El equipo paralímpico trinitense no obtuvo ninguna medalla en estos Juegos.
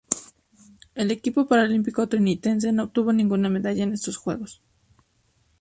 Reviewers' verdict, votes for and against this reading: accepted, 2, 0